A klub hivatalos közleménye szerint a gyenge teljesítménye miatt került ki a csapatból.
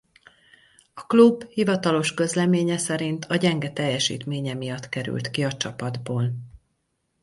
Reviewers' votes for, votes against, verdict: 2, 2, rejected